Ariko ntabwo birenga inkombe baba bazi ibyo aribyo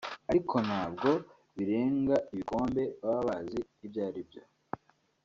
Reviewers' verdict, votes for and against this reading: accepted, 2, 0